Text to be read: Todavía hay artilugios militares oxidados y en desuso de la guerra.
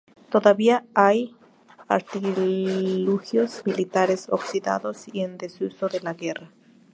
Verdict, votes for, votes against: rejected, 0, 4